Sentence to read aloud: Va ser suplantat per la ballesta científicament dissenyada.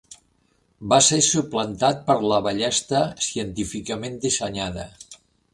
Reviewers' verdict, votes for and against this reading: accepted, 4, 0